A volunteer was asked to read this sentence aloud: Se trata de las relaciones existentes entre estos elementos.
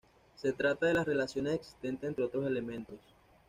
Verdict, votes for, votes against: rejected, 1, 2